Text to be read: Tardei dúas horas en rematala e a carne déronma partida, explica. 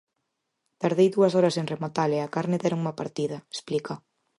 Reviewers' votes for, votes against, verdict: 4, 0, accepted